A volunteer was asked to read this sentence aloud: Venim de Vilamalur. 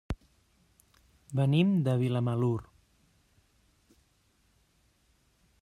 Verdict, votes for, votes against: accepted, 3, 0